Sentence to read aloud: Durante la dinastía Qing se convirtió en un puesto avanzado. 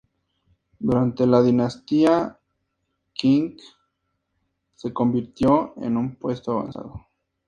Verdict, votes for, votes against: accepted, 2, 0